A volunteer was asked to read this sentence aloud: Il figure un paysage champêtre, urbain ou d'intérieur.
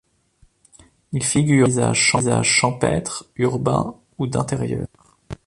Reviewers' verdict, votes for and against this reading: rejected, 1, 2